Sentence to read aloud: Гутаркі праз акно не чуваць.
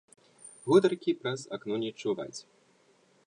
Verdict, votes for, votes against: accepted, 2, 0